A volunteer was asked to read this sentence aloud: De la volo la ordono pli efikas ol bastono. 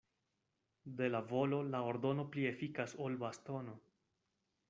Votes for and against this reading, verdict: 2, 0, accepted